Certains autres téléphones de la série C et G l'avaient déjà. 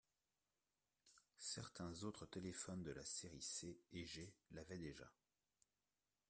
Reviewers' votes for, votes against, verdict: 2, 1, accepted